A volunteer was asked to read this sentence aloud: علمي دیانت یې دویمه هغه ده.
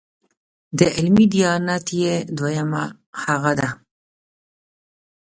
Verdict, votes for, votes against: rejected, 1, 2